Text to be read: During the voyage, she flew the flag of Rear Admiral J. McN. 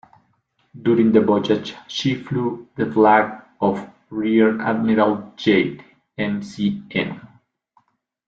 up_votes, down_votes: 2, 0